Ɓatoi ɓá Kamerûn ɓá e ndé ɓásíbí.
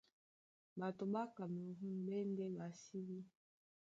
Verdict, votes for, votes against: rejected, 1, 3